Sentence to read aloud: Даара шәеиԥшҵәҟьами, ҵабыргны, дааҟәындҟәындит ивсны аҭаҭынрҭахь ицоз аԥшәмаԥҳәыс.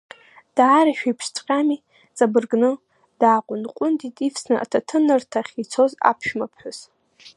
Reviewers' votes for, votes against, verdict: 0, 2, rejected